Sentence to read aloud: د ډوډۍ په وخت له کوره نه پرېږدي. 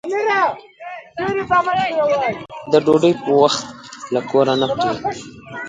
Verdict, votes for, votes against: rejected, 0, 2